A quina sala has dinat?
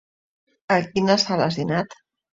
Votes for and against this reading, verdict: 2, 0, accepted